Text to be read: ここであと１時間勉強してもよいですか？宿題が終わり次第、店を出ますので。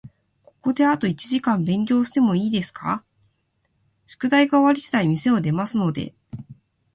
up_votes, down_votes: 0, 2